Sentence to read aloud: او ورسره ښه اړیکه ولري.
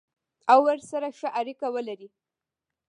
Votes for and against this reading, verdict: 1, 2, rejected